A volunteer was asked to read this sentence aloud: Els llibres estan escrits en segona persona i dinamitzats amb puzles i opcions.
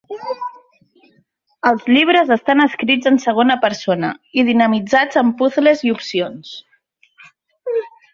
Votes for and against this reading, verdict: 3, 1, accepted